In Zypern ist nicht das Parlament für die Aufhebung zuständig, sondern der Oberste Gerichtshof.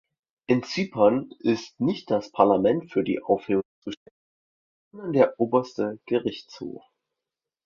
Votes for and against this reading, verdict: 0, 2, rejected